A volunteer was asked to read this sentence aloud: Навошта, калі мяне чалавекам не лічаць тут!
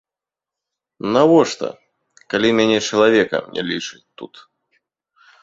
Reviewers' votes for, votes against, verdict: 2, 0, accepted